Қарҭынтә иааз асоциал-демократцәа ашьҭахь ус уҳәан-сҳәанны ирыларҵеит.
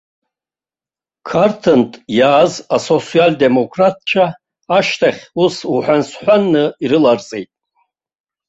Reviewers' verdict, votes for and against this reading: rejected, 0, 2